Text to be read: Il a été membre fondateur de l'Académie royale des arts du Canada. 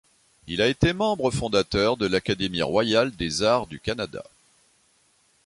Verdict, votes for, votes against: accepted, 2, 1